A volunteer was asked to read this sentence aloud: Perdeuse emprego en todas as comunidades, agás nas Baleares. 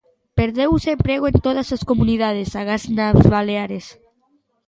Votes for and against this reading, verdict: 2, 0, accepted